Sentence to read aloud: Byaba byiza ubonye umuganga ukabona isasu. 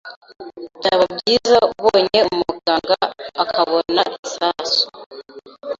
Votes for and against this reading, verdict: 0, 2, rejected